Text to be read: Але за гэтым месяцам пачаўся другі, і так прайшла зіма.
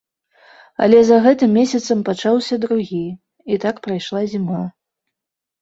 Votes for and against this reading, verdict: 3, 0, accepted